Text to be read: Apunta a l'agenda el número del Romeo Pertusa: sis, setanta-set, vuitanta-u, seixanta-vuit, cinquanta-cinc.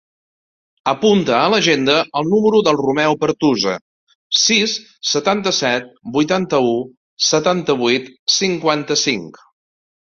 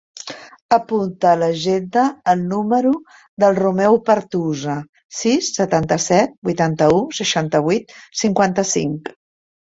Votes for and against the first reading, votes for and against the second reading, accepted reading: 0, 2, 2, 0, second